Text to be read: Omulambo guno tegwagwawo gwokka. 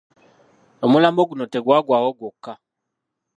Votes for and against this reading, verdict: 0, 2, rejected